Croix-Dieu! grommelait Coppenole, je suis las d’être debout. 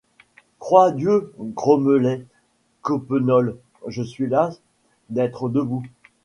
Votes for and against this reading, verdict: 1, 2, rejected